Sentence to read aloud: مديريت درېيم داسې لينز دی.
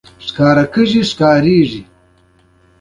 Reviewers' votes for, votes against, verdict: 2, 1, accepted